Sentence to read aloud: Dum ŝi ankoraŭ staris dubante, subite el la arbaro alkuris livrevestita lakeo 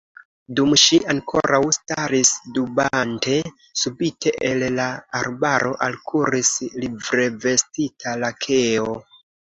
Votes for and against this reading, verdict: 2, 1, accepted